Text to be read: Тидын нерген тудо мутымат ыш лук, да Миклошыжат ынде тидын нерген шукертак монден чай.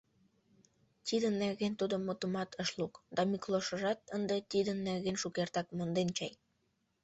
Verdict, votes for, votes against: rejected, 0, 2